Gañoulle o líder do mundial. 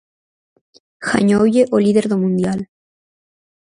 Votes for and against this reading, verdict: 4, 0, accepted